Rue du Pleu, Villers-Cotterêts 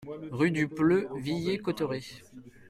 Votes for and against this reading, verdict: 1, 2, rejected